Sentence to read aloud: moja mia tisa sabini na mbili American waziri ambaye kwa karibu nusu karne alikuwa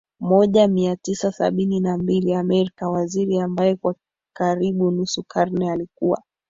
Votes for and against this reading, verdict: 3, 2, accepted